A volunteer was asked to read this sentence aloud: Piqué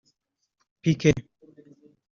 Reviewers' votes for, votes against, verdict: 1, 2, rejected